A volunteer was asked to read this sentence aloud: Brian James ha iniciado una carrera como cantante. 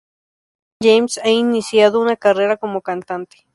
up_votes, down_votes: 0, 2